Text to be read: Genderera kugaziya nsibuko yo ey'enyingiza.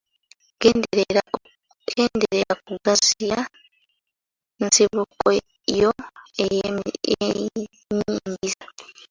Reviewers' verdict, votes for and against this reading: rejected, 0, 2